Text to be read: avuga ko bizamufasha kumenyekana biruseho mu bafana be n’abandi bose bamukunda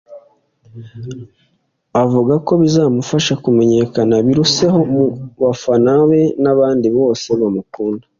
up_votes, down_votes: 2, 0